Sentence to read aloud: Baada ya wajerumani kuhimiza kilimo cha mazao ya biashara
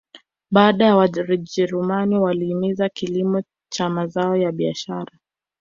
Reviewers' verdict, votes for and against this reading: rejected, 1, 2